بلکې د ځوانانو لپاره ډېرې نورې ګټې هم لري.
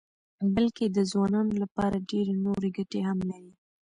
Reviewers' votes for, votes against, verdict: 1, 2, rejected